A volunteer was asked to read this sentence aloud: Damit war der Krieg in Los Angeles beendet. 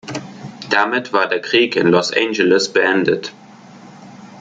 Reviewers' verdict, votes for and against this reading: accepted, 2, 0